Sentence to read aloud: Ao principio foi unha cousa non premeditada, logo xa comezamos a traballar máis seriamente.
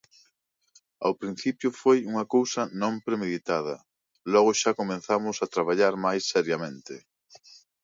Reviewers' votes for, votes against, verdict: 2, 1, accepted